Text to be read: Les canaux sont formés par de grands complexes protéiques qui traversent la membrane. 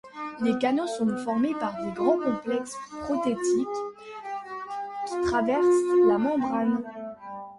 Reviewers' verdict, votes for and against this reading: rejected, 0, 2